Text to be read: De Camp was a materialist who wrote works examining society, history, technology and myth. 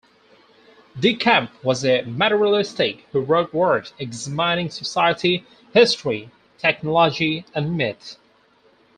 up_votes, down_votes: 2, 4